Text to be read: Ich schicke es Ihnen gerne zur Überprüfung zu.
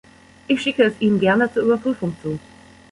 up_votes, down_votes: 2, 0